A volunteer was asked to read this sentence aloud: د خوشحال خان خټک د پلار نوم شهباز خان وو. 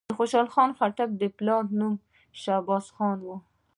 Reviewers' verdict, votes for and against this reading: rejected, 0, 2